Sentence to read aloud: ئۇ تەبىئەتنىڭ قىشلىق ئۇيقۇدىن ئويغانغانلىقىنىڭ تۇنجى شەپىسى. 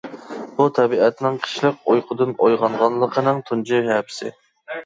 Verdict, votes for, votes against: rejected, 1, 2